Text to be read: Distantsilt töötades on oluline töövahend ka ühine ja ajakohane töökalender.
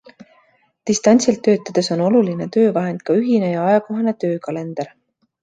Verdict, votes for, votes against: accepted, 2, 0